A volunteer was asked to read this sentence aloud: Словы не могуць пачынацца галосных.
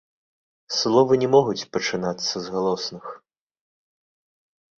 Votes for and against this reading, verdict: 1, 2, rejected